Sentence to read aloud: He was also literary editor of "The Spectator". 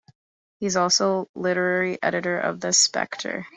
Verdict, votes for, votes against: rejected, 0, 2